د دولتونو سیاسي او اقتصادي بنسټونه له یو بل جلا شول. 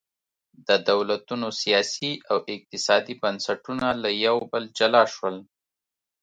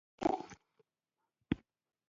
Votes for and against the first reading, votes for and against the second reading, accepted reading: 2, 0, 1, 2, first